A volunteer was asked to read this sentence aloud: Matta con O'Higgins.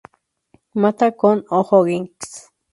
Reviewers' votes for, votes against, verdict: 4, 4, rejected